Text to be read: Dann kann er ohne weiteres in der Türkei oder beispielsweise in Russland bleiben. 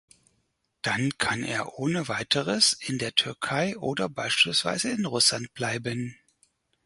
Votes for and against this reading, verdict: 4, 0, accepted